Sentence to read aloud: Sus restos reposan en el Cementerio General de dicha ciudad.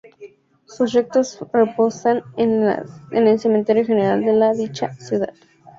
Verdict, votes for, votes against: rejected, 0, 2